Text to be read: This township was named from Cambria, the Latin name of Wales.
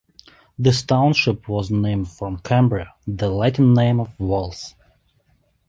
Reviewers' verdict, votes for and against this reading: rejected, 0, 2